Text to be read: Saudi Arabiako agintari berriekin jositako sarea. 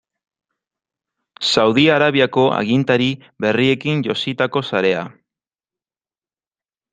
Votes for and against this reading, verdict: 2, 0, accepted